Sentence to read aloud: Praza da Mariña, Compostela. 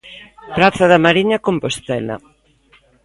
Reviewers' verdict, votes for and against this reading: accepted, 2, 0